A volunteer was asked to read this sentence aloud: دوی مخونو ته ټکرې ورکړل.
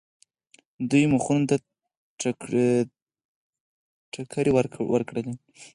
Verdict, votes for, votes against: rejected, 2, 4